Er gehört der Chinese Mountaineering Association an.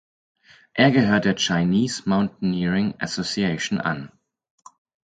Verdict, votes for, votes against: accepted, 4, 0